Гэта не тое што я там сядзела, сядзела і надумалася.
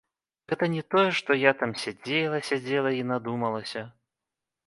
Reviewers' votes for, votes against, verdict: 2, 0, accepted